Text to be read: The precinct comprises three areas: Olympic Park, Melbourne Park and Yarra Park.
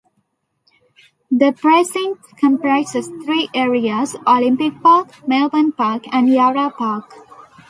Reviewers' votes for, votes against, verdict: 0, 2, rejected